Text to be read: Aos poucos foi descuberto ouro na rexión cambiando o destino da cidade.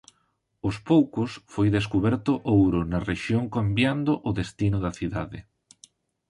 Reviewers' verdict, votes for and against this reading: accepted, 2, 0